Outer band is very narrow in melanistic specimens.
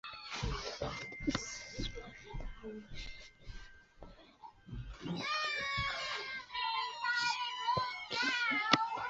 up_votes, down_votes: 0, 2